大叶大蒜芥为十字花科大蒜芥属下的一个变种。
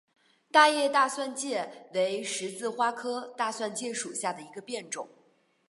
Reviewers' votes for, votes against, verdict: 3, 2, accepted